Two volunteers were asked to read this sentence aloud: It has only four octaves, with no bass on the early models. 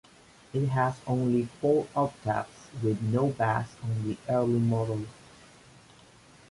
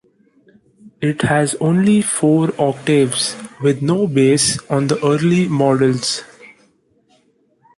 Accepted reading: second